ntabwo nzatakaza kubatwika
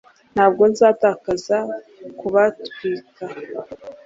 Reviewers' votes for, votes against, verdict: 2, 0, accepted